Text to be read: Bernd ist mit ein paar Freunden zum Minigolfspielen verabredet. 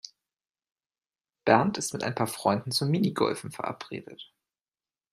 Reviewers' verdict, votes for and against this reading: rejected, 1, 2